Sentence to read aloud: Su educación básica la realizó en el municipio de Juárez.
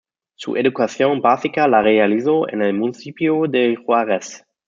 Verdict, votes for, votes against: accepted, 2, 0